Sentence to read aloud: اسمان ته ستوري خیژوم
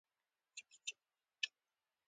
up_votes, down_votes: 2, 1